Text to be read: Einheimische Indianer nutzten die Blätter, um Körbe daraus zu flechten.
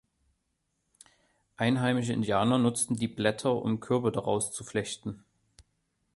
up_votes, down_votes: 2, 0